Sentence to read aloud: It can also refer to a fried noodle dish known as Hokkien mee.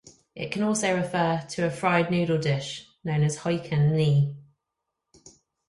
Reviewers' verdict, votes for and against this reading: rejected, 2, 2